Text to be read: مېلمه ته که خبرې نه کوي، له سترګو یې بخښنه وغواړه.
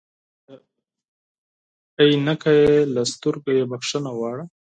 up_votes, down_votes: 2, 4